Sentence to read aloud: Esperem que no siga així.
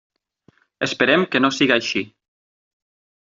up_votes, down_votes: 9, 0